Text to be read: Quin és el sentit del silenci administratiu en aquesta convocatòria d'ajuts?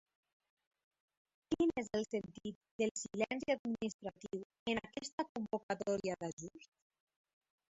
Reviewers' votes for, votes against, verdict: 2, 0, accepted